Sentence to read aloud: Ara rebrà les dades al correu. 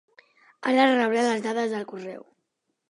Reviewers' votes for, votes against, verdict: 2, 0, accepted